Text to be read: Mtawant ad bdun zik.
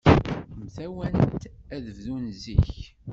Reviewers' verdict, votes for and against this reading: accepted, 2, 0